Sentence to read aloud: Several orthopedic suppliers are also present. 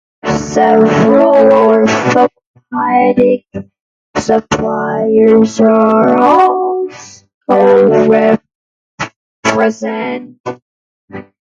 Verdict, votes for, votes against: rejected, 0, 2